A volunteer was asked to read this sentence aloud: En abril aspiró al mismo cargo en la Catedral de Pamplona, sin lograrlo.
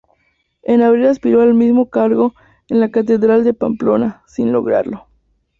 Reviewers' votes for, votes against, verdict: 2, 0, accepted